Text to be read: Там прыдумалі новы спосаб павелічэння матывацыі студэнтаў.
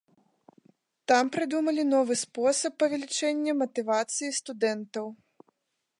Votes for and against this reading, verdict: 2, 0, accepted